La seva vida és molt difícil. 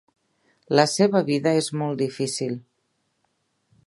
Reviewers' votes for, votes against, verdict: 3, 0, accepted